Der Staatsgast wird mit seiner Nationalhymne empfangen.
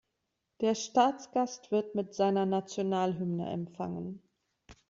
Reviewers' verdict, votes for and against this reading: accepted, 2, 0